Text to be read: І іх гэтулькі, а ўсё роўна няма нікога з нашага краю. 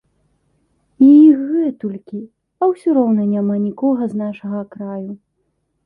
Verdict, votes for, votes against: accepted, 2, 0